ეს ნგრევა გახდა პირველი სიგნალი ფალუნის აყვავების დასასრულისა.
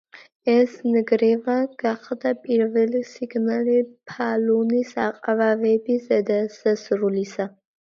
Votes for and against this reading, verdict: 2, 1, accepted